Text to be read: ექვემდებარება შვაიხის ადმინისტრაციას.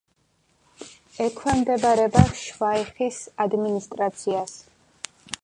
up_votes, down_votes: 2, 0